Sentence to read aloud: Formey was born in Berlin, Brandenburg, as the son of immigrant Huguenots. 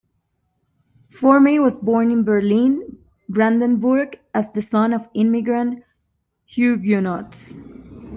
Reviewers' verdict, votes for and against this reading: accepted, 2, 0